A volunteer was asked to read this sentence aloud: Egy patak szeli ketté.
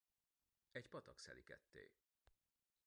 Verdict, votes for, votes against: rejected, 0, 2